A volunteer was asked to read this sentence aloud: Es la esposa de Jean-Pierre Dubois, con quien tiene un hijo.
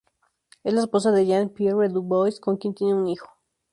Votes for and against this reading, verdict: 2, 0, accepted